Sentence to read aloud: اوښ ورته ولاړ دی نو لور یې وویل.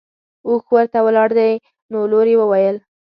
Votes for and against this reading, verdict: 2, 0, accepted